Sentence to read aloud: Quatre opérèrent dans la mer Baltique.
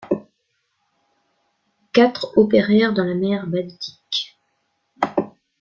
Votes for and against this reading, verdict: 2, 0, accepted